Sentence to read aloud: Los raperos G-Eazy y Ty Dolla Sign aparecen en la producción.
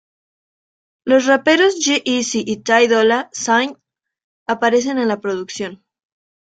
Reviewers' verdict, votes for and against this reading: accepted, 2, 0